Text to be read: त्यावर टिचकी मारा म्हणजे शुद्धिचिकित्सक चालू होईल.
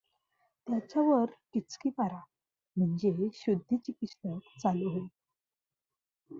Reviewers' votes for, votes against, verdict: 0, 2, rejected